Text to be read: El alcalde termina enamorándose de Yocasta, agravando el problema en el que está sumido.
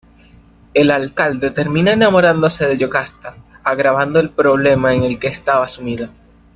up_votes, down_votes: 0, 2